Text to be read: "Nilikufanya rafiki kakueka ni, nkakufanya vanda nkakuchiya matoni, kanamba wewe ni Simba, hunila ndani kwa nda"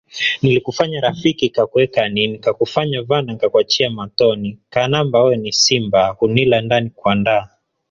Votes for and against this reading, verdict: 0, 2, rejected